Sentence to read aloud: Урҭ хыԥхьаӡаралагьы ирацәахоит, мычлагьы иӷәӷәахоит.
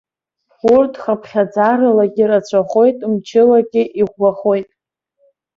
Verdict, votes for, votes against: rejected, 0, 2